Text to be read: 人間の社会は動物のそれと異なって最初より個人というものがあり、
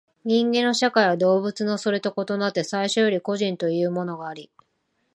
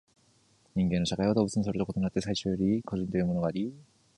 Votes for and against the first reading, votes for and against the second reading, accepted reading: 2, 0, 1, 2, first